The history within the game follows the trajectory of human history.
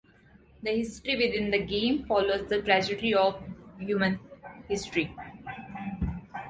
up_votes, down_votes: 0, 2